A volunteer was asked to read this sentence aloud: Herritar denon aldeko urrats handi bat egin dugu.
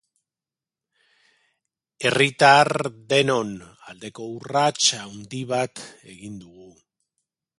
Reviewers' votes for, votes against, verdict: 4, 0, accepted